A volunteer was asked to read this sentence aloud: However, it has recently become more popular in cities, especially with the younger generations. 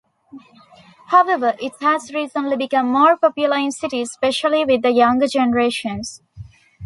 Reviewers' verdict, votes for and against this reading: rejected, 1, 2